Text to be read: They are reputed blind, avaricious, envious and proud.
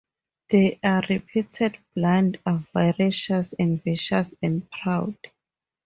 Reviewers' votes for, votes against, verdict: 2, 0, accepted